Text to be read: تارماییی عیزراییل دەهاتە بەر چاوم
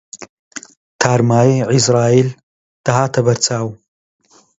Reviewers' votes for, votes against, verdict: 2, 0, accepted